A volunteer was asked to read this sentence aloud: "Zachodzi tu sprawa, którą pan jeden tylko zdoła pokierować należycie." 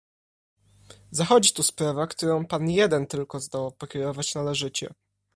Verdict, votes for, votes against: accepted, 2, 0